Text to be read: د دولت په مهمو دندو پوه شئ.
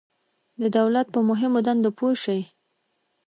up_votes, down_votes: 2, 1